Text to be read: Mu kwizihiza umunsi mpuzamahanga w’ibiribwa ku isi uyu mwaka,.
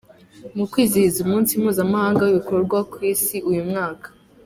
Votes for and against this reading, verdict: 1, 2, rejected